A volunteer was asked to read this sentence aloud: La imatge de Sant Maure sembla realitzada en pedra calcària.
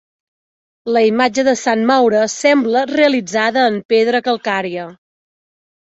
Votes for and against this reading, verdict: 2, 0, accepted